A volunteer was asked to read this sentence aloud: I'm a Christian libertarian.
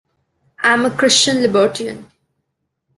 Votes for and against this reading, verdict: 1, 2, rejected